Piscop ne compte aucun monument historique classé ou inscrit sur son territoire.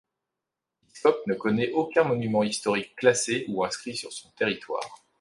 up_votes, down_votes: 1, 2